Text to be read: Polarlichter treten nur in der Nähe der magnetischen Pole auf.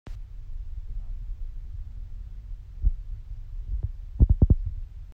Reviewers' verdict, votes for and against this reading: rejected, 0, 2